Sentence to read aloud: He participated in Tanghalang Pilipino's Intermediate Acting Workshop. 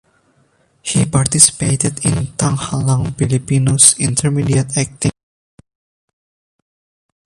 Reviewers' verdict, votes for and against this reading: rejected, 0, 2